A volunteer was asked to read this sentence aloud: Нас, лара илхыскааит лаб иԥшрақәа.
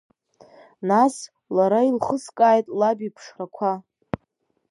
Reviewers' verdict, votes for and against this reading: accepted, 4, 0